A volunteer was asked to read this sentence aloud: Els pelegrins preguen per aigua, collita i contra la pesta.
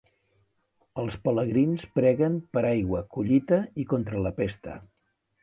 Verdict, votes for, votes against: accepted, 2, 0